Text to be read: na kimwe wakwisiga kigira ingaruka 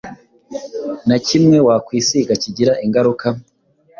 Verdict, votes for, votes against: accepted, 2, 0